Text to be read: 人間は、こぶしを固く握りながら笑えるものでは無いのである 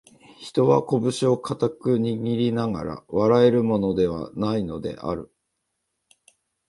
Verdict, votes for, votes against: rejected, 1, 2